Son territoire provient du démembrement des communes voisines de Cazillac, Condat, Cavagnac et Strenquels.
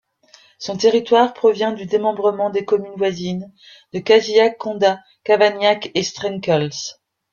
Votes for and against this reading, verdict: 2, 1, accepted